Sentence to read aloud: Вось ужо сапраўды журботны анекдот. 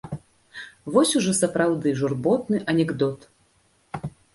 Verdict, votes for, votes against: accepted, 2, 0